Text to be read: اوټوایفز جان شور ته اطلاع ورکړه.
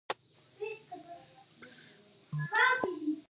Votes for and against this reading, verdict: 0, 2, rejected